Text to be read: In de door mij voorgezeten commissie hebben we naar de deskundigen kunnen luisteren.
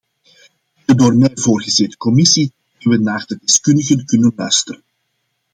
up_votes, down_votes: 1, 2